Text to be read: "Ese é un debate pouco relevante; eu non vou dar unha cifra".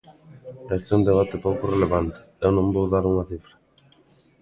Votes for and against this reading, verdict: 2, 0, accepted